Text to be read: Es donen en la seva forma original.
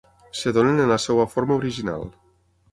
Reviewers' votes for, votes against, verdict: 0, 6, rejected